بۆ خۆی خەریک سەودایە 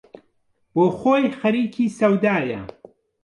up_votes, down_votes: 0, 2